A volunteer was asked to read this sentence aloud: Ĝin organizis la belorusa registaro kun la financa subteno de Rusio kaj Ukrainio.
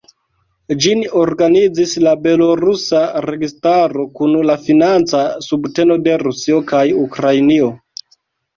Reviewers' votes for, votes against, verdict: 2, 0, accepted